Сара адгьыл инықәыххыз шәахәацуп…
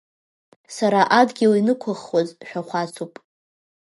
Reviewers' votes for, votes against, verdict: 1, 2, rejected